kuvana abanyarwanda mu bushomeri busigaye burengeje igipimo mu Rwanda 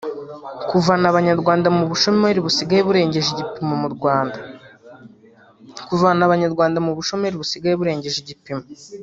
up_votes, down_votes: 2, 4